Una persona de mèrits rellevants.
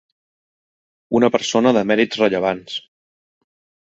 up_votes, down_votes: 3, 0